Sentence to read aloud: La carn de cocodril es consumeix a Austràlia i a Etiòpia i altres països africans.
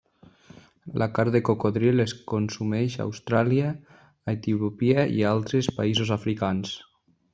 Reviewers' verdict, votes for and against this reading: rejected, 0, 2